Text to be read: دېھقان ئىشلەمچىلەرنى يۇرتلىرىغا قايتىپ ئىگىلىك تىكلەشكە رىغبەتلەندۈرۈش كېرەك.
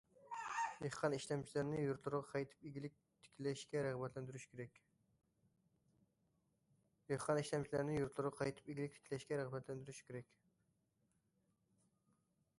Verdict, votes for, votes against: rejected, 0, 2